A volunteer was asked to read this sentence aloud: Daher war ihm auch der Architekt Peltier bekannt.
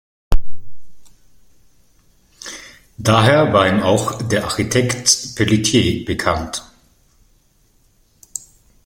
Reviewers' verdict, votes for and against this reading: rejected, 0, 2